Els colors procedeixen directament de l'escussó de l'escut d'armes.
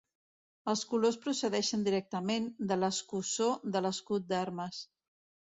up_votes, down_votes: 2, 0